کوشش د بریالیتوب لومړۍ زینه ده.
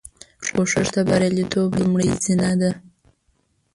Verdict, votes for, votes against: rejected, 0, 2